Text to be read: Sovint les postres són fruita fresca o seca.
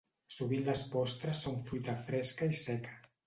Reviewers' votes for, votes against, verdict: 0, 2, rejected